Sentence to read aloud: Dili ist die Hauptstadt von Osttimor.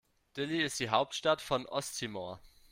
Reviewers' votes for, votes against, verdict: 2, 1, accepted